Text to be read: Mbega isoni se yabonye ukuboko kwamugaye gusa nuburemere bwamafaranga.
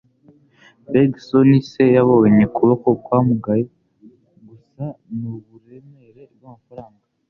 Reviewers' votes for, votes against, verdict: 2, 0, accepted